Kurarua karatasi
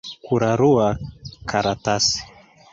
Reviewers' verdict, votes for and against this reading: rejected, 1, 2